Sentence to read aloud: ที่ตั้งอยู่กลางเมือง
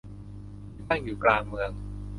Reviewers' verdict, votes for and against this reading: rejected, 0, 2